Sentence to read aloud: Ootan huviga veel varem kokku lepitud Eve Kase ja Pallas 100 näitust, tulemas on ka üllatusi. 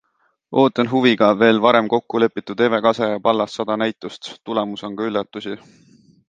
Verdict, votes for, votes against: rejected, 0, 2